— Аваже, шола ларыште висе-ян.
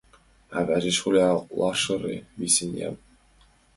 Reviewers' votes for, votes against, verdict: 2, 0, accepted